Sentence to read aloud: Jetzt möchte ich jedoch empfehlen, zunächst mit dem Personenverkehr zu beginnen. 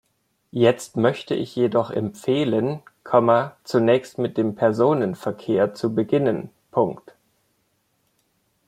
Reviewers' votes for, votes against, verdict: 0, 2, rejected